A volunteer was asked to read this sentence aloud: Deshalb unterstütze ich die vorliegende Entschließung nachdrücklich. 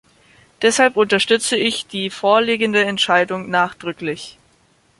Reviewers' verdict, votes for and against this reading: rejected, 1, 2